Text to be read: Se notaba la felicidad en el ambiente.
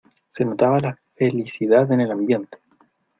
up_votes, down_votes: 2, 0